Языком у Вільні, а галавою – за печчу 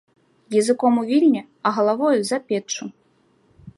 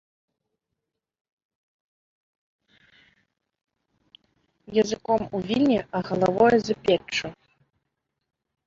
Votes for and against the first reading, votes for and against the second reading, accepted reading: 2, 0, 1, 2, first